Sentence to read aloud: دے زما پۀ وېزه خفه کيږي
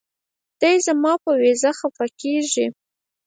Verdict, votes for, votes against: rejected, 2, 4